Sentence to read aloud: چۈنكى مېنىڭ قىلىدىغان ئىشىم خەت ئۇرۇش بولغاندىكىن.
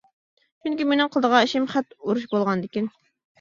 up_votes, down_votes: 2, 0